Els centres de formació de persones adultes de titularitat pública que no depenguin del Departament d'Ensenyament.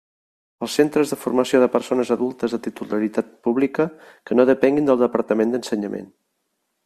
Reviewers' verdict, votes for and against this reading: rejected, 0, 2